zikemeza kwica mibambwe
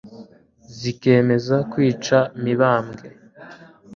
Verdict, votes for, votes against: accepted, 2, 0